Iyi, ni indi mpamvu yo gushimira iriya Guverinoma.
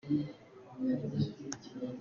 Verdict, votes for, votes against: rejected, 0, 2